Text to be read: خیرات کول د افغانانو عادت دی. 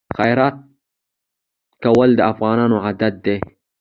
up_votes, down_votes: 2, 0